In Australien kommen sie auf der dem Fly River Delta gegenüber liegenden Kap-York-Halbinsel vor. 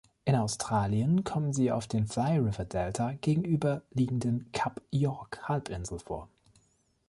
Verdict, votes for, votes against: rejected, 1, 2